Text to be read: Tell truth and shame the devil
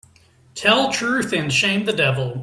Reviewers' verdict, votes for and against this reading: accepted, 2, 0